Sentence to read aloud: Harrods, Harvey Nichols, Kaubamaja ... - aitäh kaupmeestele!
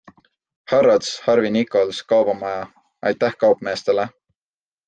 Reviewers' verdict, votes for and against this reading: accepted, 2, 0